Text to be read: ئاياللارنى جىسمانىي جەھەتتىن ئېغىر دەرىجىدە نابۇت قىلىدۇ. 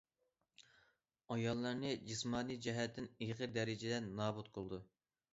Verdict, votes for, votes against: accepted, 2, 0